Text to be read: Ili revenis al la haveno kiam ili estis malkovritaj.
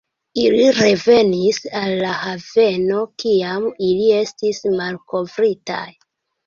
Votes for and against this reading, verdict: 2, 0, accepted